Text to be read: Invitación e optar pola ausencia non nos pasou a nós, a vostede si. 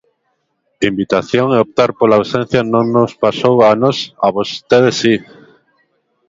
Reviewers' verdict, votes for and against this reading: rejected, 1, 2